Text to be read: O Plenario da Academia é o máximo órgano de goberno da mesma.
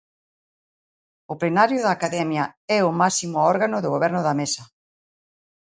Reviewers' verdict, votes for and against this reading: rejected, 0, 2